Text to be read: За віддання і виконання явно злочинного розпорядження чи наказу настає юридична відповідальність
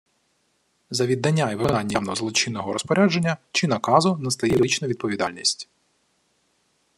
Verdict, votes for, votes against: rejected, 0, 2